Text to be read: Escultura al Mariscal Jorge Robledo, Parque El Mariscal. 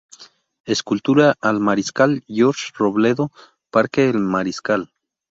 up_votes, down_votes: 2, 2